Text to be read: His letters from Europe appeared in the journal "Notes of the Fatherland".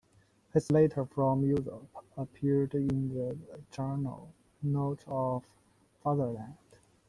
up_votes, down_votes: 0, 2